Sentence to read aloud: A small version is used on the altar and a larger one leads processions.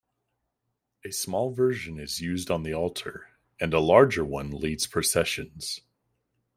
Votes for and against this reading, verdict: 2, 0, accepted